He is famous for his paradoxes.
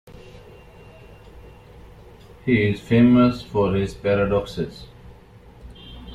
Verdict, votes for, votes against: accepted, 3, 0